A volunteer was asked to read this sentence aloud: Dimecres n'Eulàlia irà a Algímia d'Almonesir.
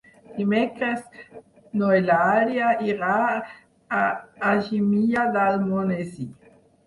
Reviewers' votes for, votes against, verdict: 0, 4, rejected